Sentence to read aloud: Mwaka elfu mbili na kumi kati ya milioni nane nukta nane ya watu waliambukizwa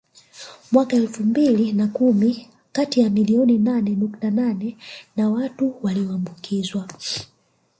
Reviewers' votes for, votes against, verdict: 1, 2, rejected